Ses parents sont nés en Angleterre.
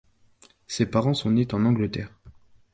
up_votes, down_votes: 0, 2